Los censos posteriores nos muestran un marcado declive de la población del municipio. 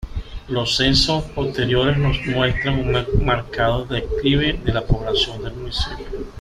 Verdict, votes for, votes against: accepted, 2, 1